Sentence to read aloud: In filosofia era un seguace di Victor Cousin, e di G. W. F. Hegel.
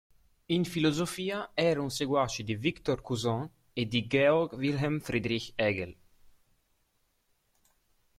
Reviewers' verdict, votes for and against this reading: accepted, 3, 1